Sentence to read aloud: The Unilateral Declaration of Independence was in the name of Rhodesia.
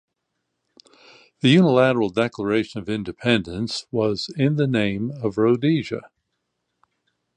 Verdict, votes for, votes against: accepted, 2, 0